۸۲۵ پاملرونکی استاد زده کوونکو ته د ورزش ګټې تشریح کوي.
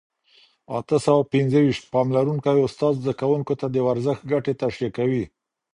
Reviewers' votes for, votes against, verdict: 0, 2, rejected